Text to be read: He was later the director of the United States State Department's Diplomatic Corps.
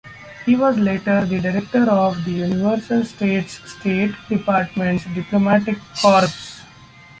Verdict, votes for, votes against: rejected, 0, 2